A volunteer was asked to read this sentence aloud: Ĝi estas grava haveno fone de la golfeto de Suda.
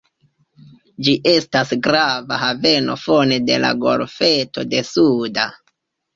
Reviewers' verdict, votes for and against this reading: accepted, 2, 0